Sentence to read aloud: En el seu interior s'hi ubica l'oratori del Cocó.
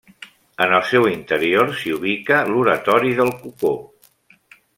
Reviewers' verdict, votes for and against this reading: accepted, 3, 0